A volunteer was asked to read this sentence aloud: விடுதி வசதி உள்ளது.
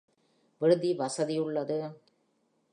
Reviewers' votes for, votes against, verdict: 2, 0, accepted